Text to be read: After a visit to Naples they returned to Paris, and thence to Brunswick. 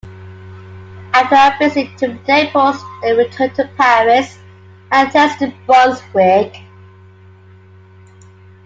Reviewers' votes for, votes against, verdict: 1, 2, rejected